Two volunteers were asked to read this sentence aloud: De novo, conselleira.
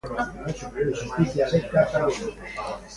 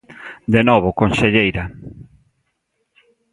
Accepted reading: second